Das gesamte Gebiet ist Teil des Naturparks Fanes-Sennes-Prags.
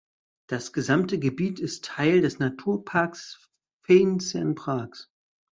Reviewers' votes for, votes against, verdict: 0, 2, rejected